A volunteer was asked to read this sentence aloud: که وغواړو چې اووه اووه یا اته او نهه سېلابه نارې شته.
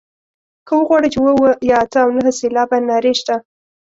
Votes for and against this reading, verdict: 2, 0, accepted